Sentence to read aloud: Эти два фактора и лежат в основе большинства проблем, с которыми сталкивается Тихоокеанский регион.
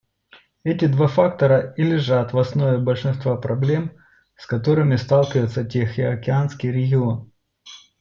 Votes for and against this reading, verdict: 2, 0, accepted